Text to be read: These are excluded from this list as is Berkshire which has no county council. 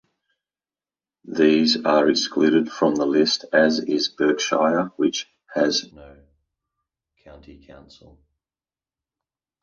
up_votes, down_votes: 0, 2